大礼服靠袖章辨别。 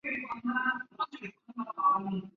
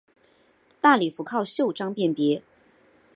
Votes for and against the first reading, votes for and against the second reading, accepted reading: 1, 5, 2, 1, second